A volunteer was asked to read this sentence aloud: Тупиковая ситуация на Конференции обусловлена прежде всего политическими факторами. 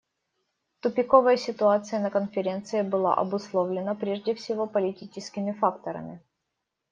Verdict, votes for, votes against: rejected, 0, 2